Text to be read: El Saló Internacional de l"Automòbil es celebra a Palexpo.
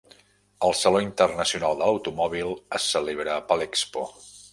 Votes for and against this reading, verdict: 2, 0, accepted